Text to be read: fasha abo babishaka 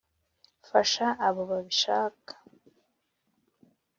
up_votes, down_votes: 4, 0